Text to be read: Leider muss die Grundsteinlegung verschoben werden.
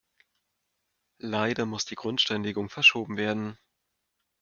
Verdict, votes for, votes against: accepted, 2, 0